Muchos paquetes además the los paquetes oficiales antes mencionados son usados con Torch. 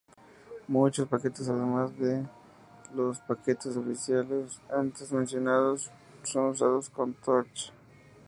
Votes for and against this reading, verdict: 2, 0, accepted